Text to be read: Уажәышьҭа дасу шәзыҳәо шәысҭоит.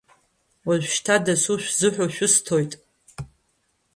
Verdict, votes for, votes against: rejected, 0, 2